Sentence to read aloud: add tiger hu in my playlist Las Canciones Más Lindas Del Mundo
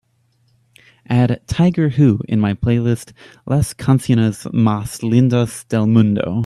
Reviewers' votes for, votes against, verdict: 2, 0, accepted